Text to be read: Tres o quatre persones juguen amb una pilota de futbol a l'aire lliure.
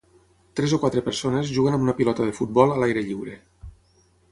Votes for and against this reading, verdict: 6, 0, accepted